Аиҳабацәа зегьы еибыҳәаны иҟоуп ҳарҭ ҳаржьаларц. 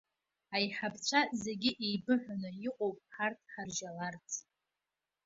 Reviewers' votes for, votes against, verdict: 2, 0, accepted